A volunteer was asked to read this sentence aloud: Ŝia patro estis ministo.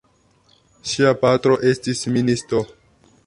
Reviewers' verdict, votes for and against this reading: accepted, 2, 0